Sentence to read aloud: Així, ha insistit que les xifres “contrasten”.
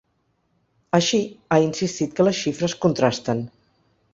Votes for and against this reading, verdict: 3, 0, accepted